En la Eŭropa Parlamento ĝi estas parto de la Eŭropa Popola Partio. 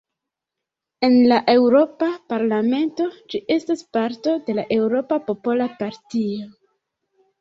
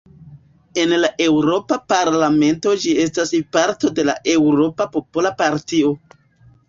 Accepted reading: second